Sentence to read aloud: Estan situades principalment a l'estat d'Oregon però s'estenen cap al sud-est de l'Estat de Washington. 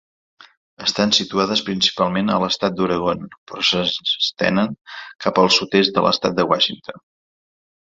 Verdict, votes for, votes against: rejected, 0, 2